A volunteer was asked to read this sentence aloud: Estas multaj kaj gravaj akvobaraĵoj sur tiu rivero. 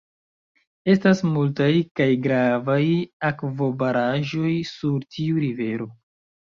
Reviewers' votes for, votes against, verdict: 2, 0, accepted